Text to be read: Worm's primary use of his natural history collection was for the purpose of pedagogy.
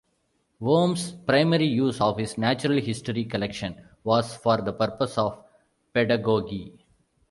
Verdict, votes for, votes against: accepted, 2, 0